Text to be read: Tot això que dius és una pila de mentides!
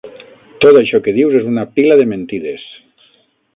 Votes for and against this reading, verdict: 9, 0, accepted